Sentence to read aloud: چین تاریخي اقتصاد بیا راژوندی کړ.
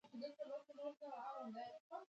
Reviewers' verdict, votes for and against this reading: rejected, 1, 2